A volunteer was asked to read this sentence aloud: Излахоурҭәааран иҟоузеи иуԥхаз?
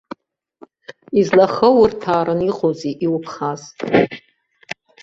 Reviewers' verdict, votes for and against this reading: rejected, 0, 2